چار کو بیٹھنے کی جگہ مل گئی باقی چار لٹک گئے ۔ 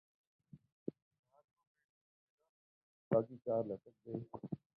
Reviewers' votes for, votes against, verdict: 0, 2, rejected